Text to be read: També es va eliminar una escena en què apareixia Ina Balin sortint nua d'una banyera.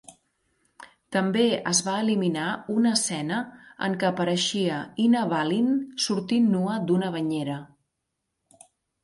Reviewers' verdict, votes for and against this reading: accepted, 2, 0